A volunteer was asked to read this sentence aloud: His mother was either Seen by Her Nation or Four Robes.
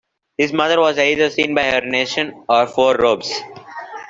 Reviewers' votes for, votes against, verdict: 2, 0, accepted